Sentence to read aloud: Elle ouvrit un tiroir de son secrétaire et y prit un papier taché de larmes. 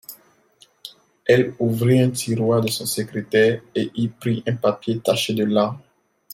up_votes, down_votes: 0, 2